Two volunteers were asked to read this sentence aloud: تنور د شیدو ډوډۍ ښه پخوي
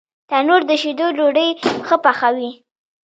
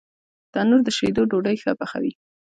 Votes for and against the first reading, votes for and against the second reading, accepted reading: 0, 2, 2, 1, second